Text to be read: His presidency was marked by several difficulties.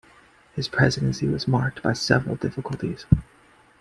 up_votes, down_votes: 2, 0